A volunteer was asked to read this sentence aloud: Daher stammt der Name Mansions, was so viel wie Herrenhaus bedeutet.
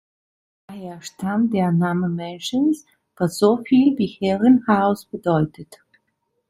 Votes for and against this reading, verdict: 2, 0, accepted